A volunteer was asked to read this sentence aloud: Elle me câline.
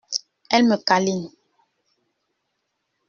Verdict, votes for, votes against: accepted, 2, 0